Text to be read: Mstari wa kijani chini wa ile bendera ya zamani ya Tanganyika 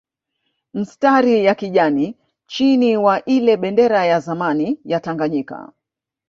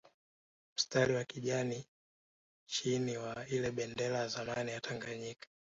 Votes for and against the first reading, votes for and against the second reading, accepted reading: 0, 2, 2, 0, second